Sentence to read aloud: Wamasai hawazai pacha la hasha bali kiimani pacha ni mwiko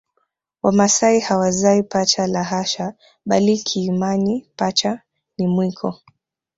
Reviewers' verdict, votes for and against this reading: rejected, 1, 2